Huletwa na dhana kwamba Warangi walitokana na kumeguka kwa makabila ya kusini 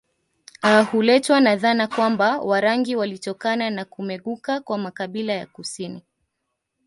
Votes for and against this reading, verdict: 2, 0, accepted